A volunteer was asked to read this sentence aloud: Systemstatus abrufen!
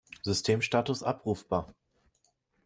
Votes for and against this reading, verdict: 0, 2, rejected